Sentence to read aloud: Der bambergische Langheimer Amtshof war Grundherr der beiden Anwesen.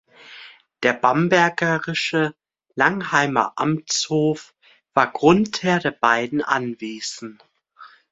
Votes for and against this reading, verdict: 2, 0, accepted